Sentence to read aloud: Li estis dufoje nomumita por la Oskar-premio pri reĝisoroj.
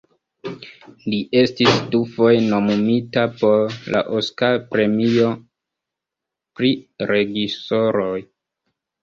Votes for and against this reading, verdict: 2, 3, rejected